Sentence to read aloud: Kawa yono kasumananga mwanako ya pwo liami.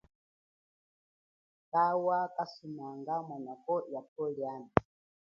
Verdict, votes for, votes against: rejected, 1, 2